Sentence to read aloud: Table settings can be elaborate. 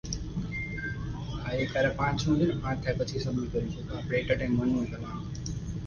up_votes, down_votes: 0, 2